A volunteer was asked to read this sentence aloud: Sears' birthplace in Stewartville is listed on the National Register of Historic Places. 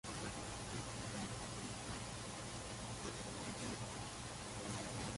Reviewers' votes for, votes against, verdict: 0, 2, rejected